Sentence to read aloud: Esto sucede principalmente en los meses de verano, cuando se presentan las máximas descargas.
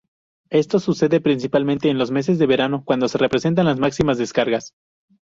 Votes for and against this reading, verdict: 0, 2, rejected